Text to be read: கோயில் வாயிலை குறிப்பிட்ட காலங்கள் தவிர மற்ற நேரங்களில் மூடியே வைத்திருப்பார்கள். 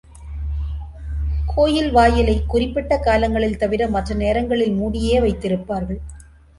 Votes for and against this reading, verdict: 2, 1, accepted